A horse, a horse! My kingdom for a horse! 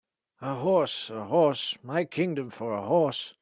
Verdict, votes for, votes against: accepted, 2, 0